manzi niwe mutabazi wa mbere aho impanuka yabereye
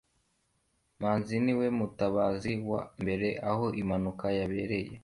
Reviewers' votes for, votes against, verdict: 2, 0, accepted